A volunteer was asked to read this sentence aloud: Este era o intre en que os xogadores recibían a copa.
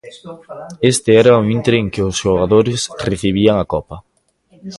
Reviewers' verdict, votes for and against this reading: rejected, 1, 2